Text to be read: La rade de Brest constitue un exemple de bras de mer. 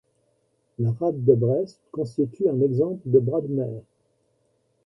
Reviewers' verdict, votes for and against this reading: rejected, 1, 2